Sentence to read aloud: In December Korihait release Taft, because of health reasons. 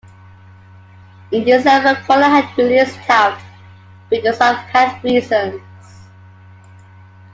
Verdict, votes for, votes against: accepted, 2, 0